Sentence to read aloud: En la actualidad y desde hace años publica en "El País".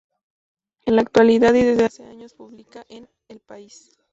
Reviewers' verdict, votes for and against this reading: rejected, 0, 2